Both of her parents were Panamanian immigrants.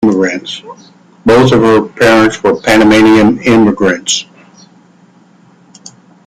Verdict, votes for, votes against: rejected, 0, 2